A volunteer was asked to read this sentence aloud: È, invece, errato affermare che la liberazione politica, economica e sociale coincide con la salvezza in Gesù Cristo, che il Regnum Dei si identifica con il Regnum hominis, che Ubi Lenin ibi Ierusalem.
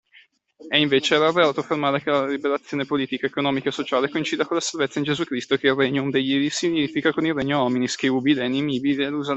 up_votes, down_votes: 2, 0